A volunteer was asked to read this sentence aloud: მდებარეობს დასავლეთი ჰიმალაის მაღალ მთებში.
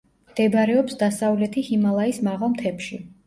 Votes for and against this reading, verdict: 2, 0, accepted